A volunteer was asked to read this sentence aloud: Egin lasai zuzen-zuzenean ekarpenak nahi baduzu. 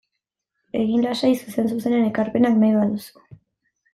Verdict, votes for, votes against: accepted, 2, 0